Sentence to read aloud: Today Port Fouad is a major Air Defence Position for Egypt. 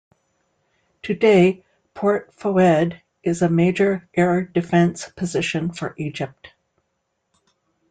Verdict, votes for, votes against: accepted, 2, 0